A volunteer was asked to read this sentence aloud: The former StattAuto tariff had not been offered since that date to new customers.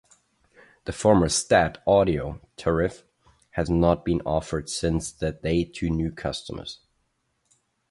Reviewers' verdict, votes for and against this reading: rejected, 0, 2